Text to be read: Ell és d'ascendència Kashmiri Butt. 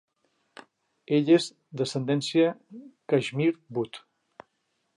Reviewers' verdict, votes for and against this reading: accepted, 2, 1